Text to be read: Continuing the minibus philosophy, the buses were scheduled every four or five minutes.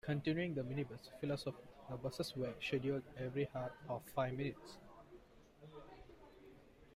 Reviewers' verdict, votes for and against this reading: rejected, 0, 2